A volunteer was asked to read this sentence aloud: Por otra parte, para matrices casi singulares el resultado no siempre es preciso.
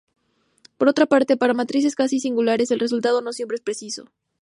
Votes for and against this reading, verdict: 4, 0, accepted